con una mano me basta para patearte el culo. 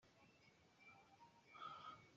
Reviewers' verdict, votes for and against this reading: rejected, 0, 2